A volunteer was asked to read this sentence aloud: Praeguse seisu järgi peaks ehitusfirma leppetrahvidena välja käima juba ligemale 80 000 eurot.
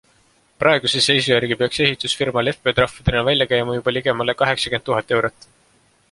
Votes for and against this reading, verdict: 0, 2, rejected